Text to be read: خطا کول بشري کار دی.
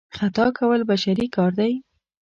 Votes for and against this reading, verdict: 2, 0, accepted